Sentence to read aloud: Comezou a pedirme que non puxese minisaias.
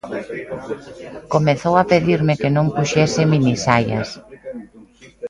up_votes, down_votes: 2, 0